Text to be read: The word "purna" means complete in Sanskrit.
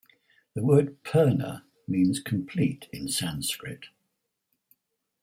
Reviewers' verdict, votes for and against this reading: rejected, 0, 4